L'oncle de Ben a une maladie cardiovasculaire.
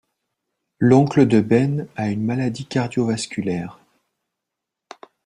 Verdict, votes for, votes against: accepted, 2, 0